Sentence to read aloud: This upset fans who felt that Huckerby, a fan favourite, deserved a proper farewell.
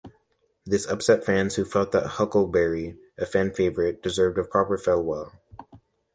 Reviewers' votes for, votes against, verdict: 1, 2, rejected